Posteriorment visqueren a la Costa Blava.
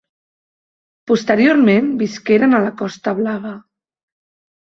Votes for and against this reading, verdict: 3, 0, accepted